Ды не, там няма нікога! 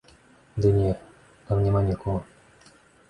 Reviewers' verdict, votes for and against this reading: accepted, 2, 0